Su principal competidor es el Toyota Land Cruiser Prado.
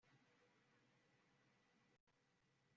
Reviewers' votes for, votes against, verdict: 0, 2, rejected